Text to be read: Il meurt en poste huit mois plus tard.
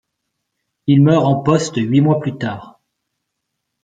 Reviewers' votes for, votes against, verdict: 2, 0, accepted